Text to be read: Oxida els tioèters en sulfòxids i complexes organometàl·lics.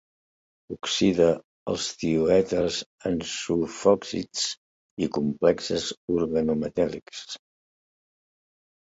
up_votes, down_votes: 2, 0